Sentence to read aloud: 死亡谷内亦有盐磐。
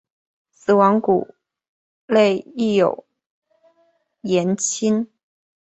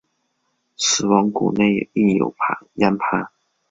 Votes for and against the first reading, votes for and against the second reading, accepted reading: 3, 1, 0, 2, first